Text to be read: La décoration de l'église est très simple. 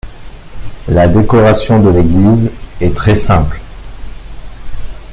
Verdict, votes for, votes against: accepted, 2, 0